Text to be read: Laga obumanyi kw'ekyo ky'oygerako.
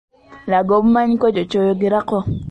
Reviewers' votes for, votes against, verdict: 2, 0, accepted